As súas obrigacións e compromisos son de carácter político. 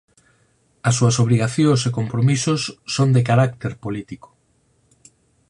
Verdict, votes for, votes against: accepted, 4, 0